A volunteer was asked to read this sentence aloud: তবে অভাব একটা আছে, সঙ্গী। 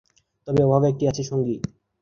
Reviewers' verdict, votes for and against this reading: rejected, 1, 2